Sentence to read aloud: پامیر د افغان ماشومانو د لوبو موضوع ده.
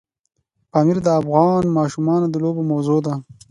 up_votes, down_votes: 2, 0